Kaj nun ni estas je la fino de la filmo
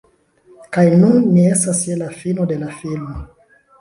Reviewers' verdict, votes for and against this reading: accepted, 2, 0